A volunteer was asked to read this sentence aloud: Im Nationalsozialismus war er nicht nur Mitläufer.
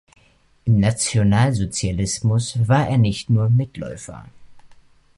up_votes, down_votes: 2, 1